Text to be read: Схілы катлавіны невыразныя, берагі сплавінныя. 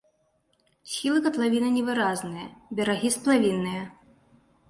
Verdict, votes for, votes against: accepted, 2, 0